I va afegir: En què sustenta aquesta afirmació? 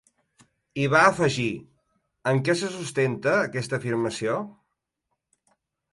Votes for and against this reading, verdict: 1, 2, rejected